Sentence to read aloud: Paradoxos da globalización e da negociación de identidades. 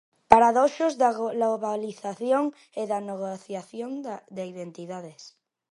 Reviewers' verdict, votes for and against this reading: rejected, 0, 2